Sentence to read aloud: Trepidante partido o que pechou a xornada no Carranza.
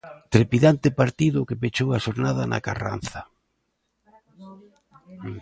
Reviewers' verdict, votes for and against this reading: rejected, 0, 2